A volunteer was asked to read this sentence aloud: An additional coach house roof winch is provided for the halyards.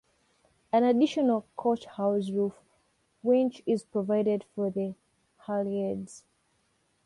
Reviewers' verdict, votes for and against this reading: accepted, 2, 0